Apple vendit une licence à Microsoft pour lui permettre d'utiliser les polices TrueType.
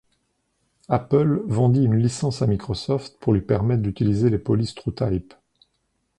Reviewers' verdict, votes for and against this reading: accepted, 2, 0